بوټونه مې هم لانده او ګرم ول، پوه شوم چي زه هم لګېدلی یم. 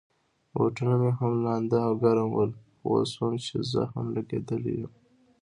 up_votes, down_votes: 2, 0